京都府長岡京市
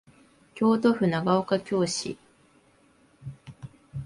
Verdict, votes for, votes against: accepted, 3, 0